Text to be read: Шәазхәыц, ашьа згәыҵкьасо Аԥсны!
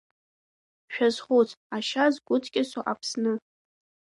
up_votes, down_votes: 2, 1